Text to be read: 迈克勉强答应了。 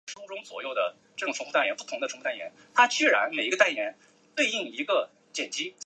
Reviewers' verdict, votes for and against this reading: accepted, 7, 1